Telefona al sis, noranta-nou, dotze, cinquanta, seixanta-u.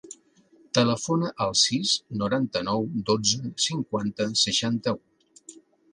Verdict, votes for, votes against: accepted, 2, 0